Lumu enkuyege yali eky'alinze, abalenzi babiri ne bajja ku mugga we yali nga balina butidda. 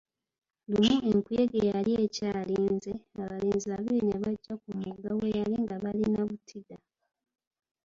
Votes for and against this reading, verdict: 1, 2, rejected